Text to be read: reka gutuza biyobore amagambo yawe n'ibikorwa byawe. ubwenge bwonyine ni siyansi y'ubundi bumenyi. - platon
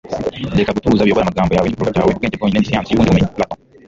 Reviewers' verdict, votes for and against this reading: rejected, 0, 2